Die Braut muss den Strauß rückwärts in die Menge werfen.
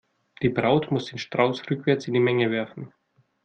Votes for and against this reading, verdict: 2, 0, accepted